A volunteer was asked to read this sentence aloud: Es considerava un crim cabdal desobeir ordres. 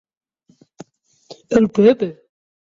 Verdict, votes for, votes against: rejected, 0, 2